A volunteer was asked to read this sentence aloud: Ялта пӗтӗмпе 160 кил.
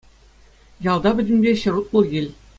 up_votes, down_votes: 0, 2